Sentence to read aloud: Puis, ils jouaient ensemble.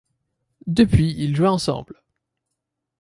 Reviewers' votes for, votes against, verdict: 1, 2, rejected